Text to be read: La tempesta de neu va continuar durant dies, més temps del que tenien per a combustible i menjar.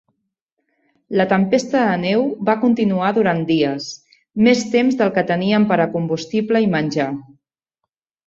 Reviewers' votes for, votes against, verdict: 1, 2, rejected